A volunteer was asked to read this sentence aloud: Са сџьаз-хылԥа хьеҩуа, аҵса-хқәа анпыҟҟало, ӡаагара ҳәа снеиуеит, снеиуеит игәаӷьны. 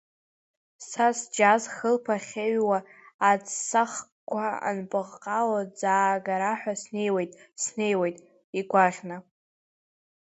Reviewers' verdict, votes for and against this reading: accepted, 2, 1